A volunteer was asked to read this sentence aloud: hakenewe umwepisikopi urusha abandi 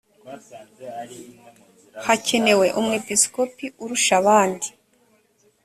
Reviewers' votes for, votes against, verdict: 2, 0, accepted